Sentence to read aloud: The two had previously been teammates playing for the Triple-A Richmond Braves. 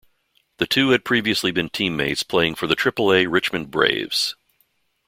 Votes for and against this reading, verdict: 2, 1, accepted